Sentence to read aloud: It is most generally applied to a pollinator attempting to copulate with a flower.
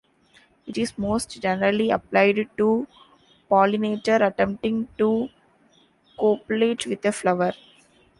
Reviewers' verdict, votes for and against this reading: rejected, 0, 2